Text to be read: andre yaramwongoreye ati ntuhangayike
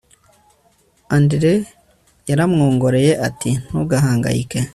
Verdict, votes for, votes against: accepted, 3, 0